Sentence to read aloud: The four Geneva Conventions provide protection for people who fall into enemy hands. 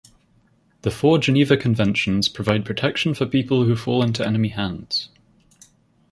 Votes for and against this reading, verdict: 4, 0, accepted